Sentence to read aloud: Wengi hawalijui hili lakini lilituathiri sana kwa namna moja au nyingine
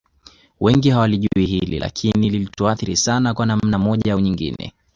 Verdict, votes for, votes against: accepted, 2, 0